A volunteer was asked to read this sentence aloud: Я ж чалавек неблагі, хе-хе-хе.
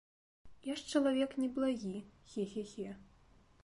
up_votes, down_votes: 2, 0